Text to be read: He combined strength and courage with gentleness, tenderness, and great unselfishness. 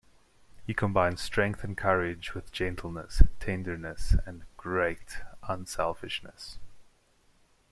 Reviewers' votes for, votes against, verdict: 2, 0, accepted